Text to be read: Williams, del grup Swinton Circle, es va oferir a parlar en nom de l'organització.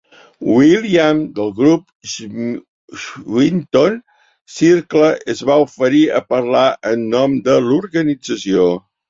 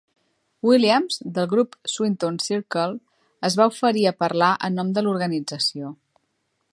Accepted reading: second